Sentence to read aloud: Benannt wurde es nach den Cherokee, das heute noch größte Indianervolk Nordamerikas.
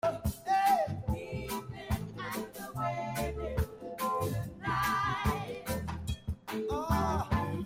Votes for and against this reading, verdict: 0, 2, rejected